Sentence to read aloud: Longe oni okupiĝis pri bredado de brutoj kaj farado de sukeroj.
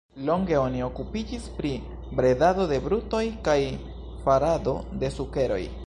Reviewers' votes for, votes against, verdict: 2, 0, accepted